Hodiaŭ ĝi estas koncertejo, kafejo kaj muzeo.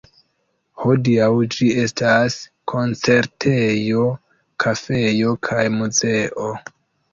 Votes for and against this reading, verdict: 4, 0, accepted